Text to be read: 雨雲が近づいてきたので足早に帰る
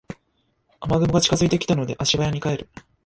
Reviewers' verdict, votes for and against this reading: accepted, 2, 0